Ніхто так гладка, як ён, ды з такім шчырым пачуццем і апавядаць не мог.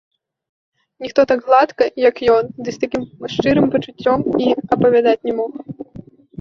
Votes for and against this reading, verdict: 1, 2, rejected